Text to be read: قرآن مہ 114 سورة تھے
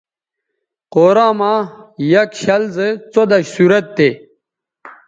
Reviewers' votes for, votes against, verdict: 0, 2, rejected